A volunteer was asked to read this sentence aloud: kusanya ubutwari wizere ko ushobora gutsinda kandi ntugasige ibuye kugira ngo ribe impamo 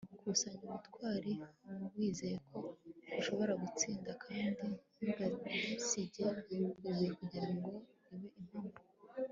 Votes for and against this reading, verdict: 2, 0, accepted